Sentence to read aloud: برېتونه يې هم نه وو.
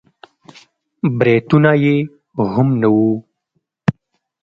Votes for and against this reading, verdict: 2, 0, accepted